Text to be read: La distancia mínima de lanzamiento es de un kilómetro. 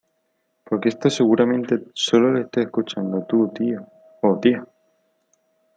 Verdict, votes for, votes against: rejected, 0, 2